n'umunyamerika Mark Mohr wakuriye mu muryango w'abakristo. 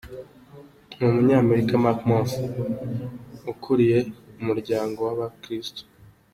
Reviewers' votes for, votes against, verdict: 2, 1, accepted